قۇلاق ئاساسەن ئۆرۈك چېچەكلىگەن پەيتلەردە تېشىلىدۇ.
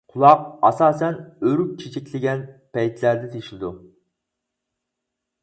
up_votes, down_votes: 0, 4